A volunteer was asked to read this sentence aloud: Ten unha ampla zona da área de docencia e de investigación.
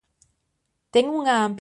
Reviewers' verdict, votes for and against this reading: rejected, 0, 2